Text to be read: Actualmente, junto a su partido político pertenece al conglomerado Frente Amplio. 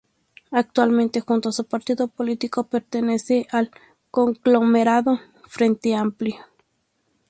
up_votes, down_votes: 4, 0